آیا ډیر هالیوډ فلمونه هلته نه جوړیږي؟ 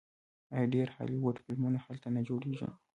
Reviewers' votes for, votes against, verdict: 2, 1, accepted